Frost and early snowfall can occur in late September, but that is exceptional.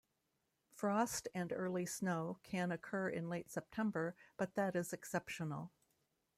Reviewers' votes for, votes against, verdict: 0, 2, rejected